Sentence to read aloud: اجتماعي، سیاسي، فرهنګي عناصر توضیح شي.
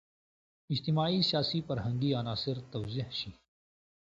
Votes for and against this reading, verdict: 2, 0, accepted